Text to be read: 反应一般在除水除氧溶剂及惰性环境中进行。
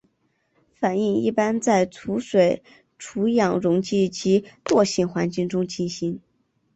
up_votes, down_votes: 4, 0